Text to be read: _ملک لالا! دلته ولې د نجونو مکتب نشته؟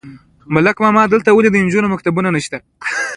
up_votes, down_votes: 2, 1